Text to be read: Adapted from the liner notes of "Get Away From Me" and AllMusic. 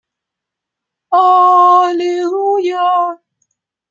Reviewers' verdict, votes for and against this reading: rejected, 0, 2